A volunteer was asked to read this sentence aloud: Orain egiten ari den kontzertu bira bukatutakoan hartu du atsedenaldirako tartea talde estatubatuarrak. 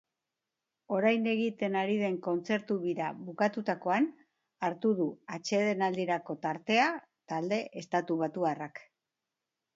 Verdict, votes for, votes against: accepted, 2, 0